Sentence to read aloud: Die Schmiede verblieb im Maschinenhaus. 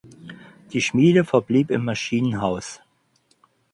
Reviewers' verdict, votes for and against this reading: accepted, 4, 0